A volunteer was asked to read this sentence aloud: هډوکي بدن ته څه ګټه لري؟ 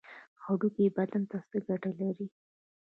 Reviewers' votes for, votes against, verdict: 1, 2, rejected